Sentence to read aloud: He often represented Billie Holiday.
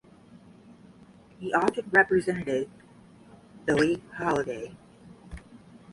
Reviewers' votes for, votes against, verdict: 0, 5, rejected